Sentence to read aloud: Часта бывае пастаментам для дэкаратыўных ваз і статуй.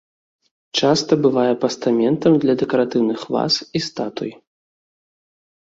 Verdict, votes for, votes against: accepted, 2, 0